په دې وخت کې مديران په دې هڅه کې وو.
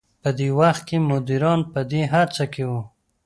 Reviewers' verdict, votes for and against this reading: accepted, 2, 0